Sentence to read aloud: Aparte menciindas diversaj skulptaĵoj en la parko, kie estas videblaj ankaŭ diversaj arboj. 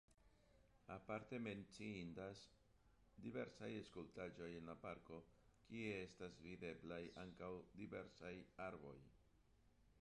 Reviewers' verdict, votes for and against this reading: rejected, 0, 2